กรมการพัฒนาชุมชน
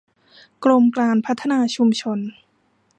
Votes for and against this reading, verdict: 0, 2, rejected